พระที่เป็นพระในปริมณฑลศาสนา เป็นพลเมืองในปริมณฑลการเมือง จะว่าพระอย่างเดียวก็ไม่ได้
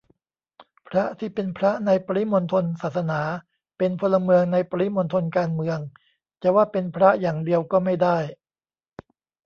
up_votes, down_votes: 1, 2